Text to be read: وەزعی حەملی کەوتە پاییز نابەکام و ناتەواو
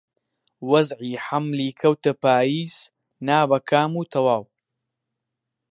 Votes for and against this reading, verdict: 0, 2, rejected